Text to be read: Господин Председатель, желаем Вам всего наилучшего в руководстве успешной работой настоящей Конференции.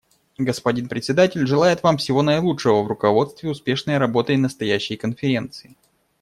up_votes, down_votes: 1, 2